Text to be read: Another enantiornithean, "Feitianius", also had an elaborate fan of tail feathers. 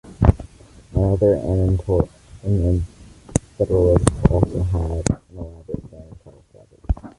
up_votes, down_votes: 0, 2